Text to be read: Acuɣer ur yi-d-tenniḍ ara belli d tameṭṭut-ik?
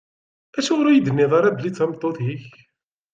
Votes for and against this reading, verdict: 2, 0, accepted